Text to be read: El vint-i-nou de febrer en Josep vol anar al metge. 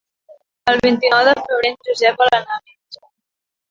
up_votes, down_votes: 0, 2